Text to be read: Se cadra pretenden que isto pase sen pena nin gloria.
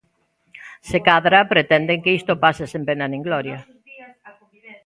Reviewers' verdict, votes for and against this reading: accepted, 3, 2